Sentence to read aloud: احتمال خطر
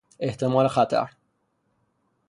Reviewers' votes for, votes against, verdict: 3, 3, rejected